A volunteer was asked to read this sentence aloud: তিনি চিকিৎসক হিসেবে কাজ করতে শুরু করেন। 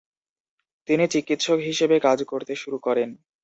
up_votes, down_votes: 2, 0